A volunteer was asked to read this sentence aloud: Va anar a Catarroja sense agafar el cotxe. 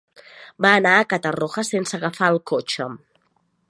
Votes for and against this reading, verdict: 1, 2, rejected